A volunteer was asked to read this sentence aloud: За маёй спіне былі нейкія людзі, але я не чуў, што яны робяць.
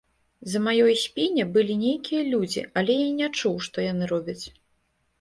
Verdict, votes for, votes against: accepted, 2, 0